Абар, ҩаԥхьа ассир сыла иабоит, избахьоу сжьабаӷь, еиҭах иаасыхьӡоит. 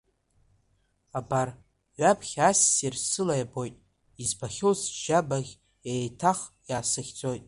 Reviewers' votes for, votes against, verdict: 2, 0, accepted